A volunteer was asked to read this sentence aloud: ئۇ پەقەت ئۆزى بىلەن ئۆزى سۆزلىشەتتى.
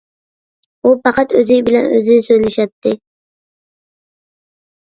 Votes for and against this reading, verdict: 2, 0, accepted